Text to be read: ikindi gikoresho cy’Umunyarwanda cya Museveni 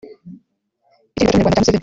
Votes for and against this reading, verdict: 1, 2, rejected